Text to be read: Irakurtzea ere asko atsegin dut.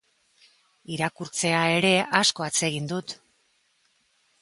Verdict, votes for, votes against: accepted, 3, 0